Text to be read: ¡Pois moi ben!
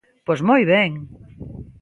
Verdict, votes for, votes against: accepted, 2, 0